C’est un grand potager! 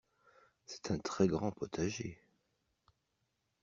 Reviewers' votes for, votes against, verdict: 0, 2, rejected